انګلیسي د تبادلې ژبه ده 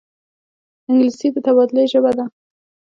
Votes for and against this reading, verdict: 2, 0, accepted